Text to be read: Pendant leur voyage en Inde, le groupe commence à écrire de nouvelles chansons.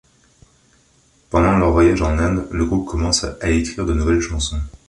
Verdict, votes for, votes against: accepted, 2, 0